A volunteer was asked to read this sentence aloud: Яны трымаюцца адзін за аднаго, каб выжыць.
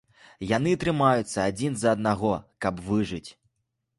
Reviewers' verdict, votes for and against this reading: accepted, 2, 0